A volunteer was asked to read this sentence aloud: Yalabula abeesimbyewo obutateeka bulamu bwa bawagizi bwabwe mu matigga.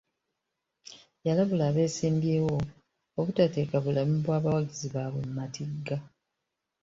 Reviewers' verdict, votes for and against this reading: accepted, 2, 0